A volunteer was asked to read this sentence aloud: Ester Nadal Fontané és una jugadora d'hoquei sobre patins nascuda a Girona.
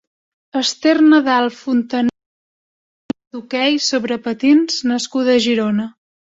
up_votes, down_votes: 0, 2